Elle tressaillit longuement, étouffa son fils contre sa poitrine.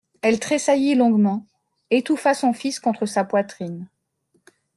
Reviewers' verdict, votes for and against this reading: accepted, 2, 0